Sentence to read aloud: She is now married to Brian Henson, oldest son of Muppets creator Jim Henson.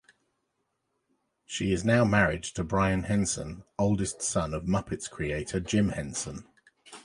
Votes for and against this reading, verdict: 2, 0, accepted